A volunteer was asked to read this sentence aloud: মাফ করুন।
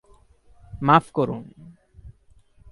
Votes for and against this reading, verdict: 2, 0, accepted